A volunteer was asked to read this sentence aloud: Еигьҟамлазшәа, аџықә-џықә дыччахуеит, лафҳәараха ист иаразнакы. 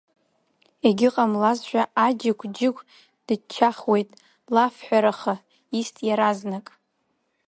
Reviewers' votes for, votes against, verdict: 1, 2, rejected